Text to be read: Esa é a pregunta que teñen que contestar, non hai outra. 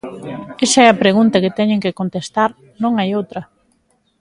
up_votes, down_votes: 2, 0